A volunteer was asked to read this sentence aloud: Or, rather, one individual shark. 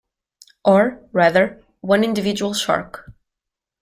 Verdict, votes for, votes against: accepted, 2, 0